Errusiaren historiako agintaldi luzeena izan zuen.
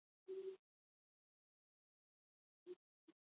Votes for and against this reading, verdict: 0, 4, rejected